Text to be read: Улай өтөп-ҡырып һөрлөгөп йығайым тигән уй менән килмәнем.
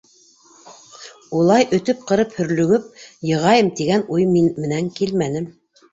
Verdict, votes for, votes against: rejected, 0, 2